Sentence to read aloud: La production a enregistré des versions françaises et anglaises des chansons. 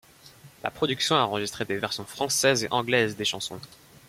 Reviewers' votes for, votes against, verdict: 2, 0, accepted